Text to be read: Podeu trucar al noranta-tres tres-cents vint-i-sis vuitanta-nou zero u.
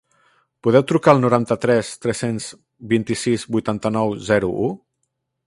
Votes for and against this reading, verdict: 1, 2, rejected